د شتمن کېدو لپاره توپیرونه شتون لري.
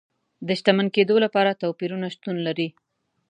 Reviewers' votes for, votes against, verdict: 2, 0, accepted